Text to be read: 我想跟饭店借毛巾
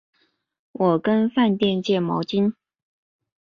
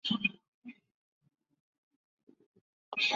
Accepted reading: first